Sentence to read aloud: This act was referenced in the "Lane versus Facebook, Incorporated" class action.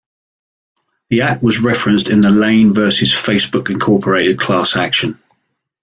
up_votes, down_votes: 1, 2